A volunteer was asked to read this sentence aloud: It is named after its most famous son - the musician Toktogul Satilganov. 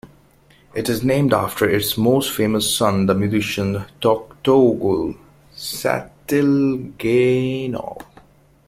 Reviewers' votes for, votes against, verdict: 1, 2, rejected